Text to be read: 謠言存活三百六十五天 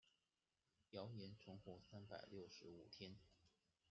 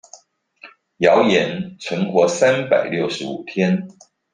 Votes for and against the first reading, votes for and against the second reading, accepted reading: 0, 2, 2, 1, second